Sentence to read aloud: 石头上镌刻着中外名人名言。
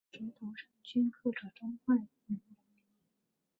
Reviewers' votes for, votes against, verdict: 0, 4, rejected